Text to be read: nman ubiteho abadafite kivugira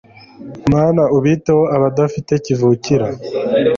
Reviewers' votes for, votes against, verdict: 0, 2, rejected